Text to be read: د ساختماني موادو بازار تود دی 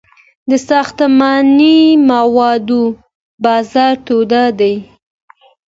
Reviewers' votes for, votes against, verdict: 2, 0, accepted